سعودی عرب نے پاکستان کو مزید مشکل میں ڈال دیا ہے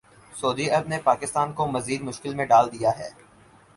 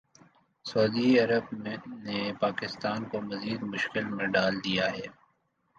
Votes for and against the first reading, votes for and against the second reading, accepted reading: 6, 0, 1, 2, first